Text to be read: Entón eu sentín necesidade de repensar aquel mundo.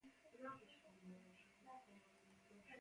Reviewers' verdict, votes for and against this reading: rejected, 0, 2